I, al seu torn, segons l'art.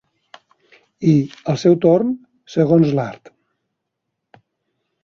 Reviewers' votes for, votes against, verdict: 3, 0, accepted